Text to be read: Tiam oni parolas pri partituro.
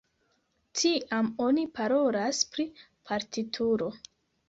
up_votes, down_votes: 1, 2